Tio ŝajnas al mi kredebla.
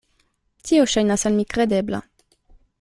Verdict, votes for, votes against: accepted, 2, 0